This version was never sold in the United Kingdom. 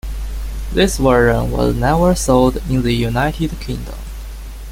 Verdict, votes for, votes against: rejected, 0, 2